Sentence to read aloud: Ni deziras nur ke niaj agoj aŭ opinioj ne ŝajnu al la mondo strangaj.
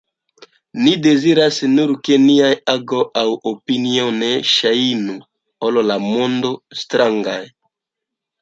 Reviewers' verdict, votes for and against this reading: rejected, 1, 2